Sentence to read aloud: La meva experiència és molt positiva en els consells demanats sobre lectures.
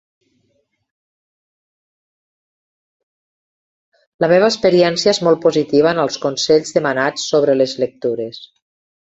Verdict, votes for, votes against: rejected, 0, 2